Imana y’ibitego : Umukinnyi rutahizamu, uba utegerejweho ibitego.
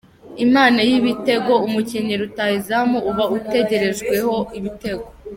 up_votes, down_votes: 2, 0